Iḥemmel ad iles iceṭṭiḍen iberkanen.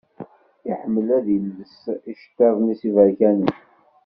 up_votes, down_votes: 0, 2